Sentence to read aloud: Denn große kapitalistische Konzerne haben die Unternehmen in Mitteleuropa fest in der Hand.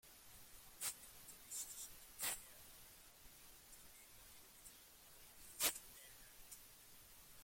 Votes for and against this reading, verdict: 0, 2, rejected